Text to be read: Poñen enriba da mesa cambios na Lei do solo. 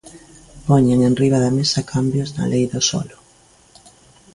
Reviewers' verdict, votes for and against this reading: accepted, 2, 0